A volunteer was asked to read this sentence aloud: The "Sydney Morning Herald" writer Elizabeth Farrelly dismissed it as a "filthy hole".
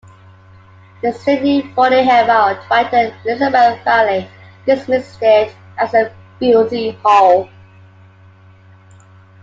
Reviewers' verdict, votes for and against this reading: rejected, 0, 2